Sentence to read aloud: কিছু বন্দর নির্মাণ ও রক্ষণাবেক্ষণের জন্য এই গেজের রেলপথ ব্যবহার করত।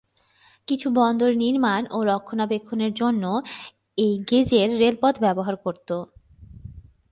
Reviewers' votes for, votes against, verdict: 5, 1, accepted